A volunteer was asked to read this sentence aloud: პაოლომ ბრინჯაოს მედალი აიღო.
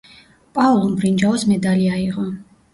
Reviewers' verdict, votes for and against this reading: rejected, 1, 2